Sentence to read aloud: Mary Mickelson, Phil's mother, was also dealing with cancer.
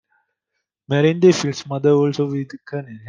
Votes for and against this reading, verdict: 0, 2, rejected